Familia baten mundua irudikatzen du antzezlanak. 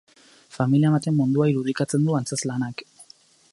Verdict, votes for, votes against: rejected, 2, 2